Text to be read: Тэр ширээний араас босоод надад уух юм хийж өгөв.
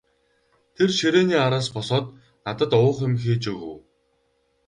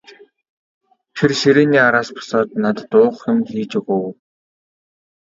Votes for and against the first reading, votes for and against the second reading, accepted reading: 4, 0, 1, 2, first